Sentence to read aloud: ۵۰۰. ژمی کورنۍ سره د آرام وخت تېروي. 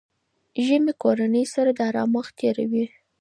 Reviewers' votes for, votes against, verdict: 0, 2, rejected